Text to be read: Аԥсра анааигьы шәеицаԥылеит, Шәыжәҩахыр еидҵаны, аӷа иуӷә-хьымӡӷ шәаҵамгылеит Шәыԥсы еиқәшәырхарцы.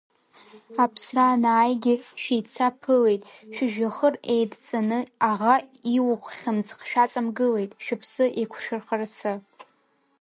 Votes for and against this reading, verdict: 0, 2, rejected